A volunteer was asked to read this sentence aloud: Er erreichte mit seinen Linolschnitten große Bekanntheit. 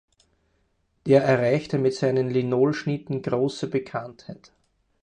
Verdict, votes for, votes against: accepted, 4, 0